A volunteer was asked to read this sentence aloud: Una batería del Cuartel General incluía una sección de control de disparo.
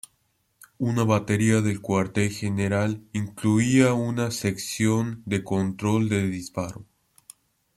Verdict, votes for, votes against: accepted, 2, 0